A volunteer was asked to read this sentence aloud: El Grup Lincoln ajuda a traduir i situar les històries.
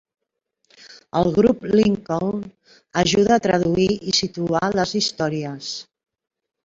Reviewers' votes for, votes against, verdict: 3, 1, accepted